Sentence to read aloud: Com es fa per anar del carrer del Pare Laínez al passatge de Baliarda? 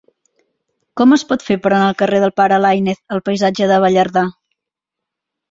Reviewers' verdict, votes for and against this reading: rejected, 0, 2